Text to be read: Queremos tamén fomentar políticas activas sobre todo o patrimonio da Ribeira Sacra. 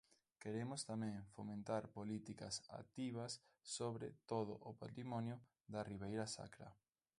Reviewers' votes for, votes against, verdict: 2, 0, accepted